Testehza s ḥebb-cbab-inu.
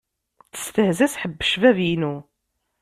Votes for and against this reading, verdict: 2, 0, accepted